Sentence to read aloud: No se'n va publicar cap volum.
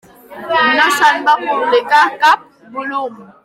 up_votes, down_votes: 3, 1